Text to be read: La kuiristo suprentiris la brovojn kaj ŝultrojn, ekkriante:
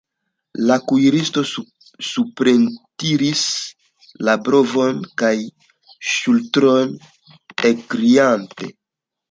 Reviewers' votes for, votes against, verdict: 2, 1, accepted